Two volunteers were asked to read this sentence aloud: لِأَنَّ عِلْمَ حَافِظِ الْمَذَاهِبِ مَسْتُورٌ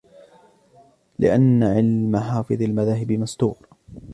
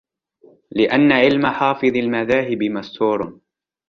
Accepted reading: second